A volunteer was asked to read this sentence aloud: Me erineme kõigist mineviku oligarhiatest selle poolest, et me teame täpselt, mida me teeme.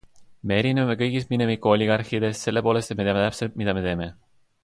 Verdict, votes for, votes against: accepted, 2, 0